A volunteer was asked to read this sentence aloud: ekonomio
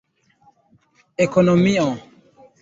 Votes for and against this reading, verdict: 0, 2, rejected